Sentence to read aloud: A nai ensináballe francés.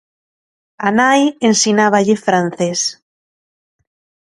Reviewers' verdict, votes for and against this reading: accepted, 2, 0